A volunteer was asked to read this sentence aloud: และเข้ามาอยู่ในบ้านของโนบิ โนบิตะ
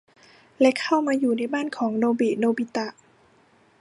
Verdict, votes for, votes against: accepted, 2, 0